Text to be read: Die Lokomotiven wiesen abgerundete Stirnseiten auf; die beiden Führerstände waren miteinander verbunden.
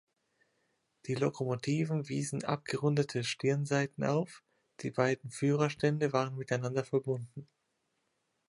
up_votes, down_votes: 2, 0